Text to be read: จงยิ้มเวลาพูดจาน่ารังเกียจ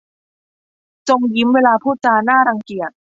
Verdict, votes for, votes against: accepted, 2, 0